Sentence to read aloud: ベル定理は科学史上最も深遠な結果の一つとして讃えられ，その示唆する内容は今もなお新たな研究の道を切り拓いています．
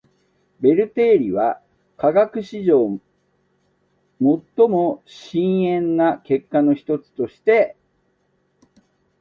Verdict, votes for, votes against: rejected, 0, 2